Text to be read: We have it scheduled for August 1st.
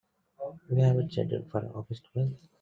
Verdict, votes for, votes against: rejected, 0, 2